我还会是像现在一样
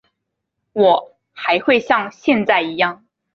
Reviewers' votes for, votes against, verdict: 1, 3, rejected